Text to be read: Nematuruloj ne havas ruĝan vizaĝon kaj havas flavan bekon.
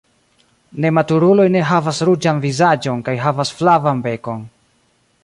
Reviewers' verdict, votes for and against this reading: rejected, 0, 2